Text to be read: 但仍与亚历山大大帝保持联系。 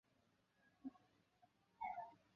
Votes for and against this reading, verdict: 0, 4, rejected